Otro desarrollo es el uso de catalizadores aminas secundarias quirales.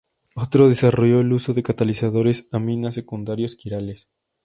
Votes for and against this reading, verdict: 0, 2, rejected